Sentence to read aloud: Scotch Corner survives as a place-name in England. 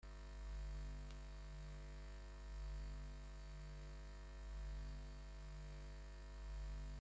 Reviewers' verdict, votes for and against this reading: rejected, 0, 2